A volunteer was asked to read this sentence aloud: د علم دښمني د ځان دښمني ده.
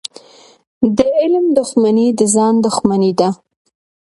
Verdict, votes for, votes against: accepted, 2, 0